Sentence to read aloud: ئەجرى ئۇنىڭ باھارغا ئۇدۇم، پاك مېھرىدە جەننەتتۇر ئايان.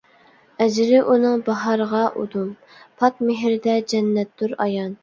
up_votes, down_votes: 1, 2